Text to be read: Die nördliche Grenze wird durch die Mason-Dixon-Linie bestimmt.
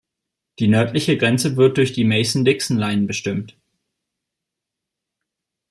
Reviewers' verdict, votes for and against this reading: rejected, 1, 2